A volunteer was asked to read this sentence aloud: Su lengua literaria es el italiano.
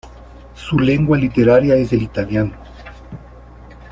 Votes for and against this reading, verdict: 2, 0, accepted